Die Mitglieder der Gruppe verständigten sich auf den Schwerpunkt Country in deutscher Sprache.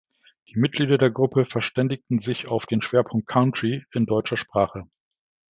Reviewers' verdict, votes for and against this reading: accepted, 2, 0